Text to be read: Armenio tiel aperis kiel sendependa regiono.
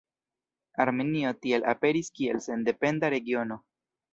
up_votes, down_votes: 2, 0